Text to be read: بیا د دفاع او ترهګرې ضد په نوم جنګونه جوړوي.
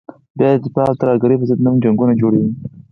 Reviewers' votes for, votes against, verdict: 4, 2, accepted